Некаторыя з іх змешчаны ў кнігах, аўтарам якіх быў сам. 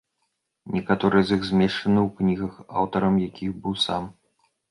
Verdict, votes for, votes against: accepted, 2, 1